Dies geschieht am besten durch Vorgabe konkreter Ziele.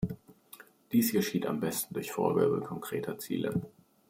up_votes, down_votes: 2, 0